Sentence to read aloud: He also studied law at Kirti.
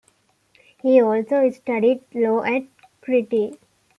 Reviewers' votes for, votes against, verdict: 1, 2, rejected